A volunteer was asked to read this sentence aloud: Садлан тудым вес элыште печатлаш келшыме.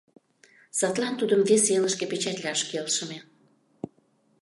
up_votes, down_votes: 2, 0